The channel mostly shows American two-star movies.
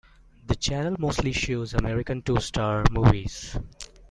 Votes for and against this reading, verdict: 2, 0, accepted